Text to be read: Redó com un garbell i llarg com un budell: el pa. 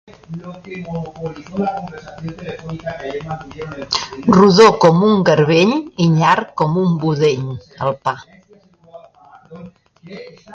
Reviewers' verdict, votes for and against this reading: rejected, 0, 2